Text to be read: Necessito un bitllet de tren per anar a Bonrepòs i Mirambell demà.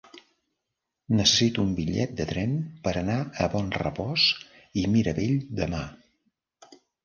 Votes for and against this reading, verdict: 0, 3, rejected